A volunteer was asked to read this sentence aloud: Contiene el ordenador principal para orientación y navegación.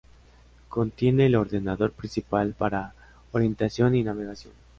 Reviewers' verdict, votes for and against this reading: accepted, 3, 0